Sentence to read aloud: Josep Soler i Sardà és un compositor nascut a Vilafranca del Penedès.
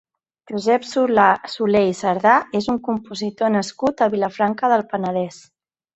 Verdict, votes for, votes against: rejected, 0, 2